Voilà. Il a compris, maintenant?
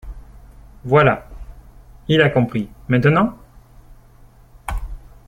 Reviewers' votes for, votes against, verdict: 2, 0, accepted